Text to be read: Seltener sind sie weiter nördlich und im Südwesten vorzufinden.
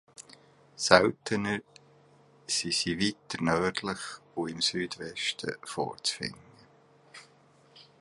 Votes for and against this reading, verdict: 0, 2, rejected